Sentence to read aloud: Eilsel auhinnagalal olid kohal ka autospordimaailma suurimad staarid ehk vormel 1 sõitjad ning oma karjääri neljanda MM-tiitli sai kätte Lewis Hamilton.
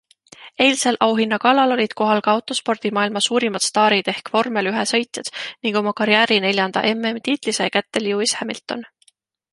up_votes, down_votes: 0, 2